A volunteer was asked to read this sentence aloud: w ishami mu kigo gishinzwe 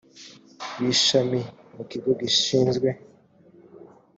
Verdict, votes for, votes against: accepted, 2, 0